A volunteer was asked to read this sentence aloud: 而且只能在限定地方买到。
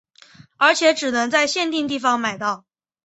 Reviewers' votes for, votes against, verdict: 1, 2, rejected